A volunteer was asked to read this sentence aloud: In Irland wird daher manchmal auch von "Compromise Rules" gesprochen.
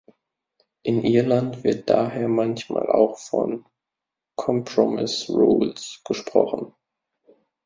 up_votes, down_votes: 0, 2